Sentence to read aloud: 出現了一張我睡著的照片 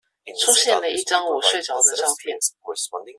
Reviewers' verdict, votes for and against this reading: rejected, 0, 2